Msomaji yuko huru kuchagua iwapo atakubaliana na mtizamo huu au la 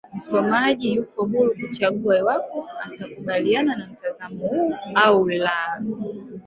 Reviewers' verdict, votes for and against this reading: rejected, 2, 3